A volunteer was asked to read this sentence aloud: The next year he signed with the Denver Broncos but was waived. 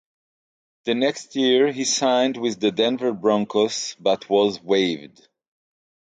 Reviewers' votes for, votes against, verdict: 6, 0, accepted